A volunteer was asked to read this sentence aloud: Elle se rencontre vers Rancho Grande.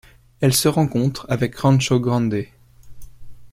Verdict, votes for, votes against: rejected, 1, 2